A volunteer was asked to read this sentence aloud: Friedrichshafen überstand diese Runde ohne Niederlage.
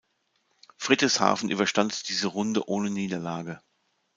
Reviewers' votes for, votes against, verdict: 1, 2, rejected